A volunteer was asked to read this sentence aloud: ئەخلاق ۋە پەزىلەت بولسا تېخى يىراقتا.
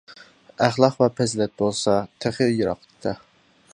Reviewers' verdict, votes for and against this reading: accepted, 2, 0